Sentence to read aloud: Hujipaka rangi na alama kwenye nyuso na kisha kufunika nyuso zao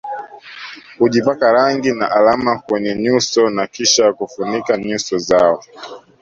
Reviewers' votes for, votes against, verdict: 0, 2, rejected